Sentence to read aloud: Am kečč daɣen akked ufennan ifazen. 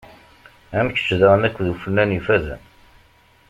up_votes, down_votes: 2, 0